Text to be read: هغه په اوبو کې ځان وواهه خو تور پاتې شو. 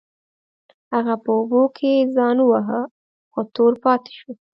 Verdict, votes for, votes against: accepted, 2, 0